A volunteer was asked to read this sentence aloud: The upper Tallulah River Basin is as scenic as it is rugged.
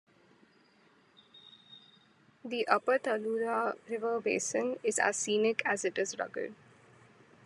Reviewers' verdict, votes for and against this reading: rejected, 1, 2